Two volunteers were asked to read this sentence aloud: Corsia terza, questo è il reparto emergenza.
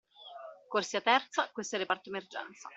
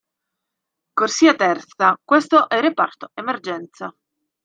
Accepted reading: first